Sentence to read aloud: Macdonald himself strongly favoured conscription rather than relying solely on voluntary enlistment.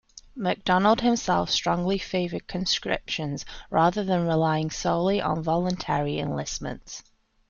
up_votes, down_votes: 0, 2